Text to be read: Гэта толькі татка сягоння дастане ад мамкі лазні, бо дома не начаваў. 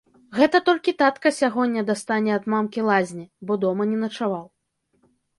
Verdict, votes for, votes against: accepted, 3, 0